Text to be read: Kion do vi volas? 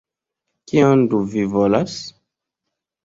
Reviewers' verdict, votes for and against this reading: accepted, 2, 1